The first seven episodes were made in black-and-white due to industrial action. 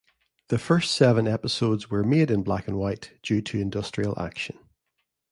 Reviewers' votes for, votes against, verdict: 2, 0, accepted